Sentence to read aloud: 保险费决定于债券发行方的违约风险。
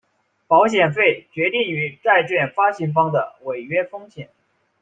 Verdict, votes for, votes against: accepted, 2, 0